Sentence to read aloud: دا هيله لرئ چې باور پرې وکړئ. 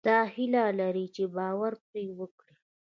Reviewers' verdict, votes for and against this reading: accepted, 2, 1